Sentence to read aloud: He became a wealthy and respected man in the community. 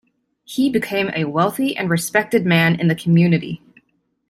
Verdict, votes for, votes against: accepted, 2, 1